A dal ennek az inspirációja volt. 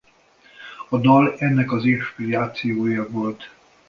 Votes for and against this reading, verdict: 1, 2, rejected